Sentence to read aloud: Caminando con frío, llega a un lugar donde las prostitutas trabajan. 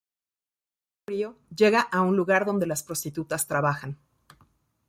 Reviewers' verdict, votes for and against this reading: rejected, 1, 2